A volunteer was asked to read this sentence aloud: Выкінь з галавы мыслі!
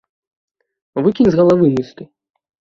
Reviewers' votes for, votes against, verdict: 1, 2, rejected